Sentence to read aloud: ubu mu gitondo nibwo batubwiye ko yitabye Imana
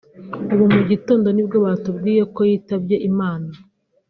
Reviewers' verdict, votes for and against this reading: accepted, 2, 1